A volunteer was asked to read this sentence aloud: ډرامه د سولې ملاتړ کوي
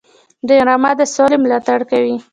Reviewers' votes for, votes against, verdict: 2, 0, accepted